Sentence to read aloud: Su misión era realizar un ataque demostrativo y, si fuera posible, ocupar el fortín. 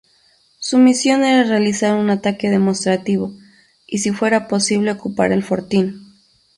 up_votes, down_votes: 4, 0